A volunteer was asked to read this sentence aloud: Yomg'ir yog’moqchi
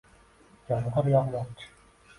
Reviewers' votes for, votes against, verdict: 1, 3, rejected